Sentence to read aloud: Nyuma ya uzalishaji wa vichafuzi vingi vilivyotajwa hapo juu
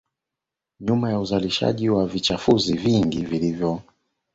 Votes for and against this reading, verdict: 0, 2, rejected